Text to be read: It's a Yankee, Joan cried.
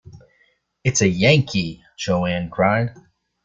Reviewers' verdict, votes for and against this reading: rejected, 0, 2